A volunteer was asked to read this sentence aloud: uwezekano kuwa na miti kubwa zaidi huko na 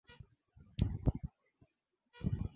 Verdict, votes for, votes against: rejected, 0, 5